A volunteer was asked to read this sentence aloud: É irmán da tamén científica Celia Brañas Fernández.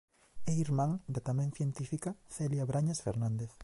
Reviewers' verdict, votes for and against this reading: accepted, 2, 0